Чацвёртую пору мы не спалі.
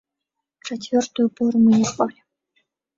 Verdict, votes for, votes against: rejected, 1, 2